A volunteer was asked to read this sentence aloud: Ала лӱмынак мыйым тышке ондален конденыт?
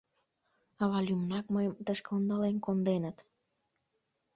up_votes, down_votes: 0, 2